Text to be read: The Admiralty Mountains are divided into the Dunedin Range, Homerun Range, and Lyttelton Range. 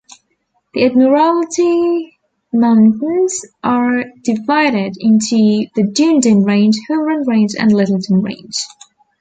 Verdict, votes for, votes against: accepted, 2, 0